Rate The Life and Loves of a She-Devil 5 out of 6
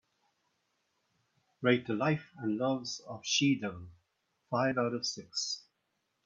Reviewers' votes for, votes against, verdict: 0, 2, rejected